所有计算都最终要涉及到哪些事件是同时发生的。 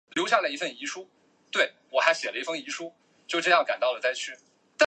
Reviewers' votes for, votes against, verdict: 1, 2, rejected